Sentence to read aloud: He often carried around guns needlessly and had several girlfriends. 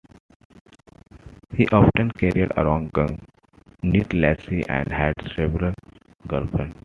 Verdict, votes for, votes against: rejected, 0, 2